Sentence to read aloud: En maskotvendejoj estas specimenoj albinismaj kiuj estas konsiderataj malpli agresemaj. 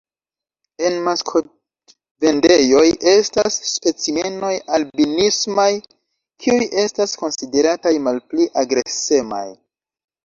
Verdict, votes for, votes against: rejected, 1, 2